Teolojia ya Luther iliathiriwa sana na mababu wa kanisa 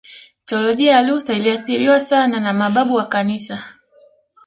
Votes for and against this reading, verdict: 2, 0, accepted